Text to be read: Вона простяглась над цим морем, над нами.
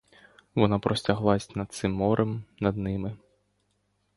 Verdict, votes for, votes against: rejected, 0, 2